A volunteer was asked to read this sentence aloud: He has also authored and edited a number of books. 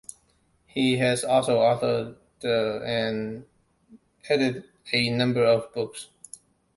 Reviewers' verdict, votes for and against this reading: rejected, 0, 2